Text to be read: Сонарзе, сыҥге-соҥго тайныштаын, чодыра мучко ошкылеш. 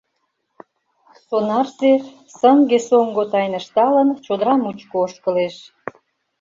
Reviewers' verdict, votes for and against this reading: rejected, 0, 2